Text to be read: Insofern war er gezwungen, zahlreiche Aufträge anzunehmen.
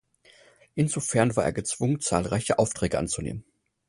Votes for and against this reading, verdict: 4, 0, accepted